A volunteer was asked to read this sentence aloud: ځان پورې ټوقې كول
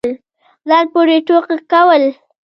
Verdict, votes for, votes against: rejected, 1, 2